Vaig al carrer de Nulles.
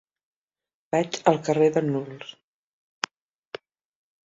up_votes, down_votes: 1, 2